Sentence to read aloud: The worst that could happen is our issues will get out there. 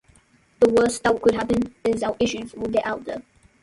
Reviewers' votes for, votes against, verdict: 0, 2, rejected